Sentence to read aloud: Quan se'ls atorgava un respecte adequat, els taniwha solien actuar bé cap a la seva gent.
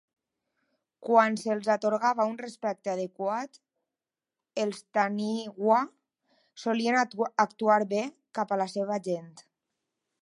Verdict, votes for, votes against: rejected, 0, 2